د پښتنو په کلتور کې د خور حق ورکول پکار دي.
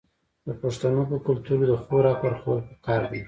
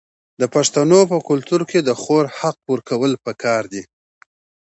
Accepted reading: second